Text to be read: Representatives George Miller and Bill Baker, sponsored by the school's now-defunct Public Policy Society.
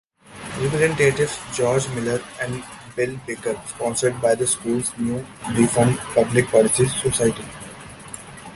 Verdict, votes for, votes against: rejected, 0, 2